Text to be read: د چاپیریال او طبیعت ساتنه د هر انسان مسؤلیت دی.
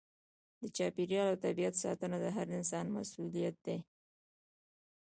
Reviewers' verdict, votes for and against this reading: rejected, 1, 2